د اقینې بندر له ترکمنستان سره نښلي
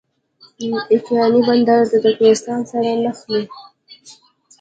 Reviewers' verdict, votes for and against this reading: accepted, 2, 1